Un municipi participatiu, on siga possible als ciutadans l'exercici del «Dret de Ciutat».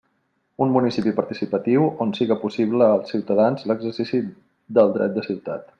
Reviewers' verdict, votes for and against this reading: rejected, 1, 2